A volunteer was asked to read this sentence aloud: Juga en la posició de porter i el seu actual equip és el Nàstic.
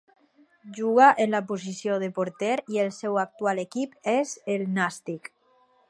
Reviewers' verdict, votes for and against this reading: rejected, 0, 2